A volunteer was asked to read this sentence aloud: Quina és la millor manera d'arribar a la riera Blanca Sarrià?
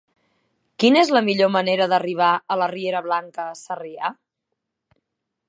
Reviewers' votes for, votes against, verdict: 1, 2, rejected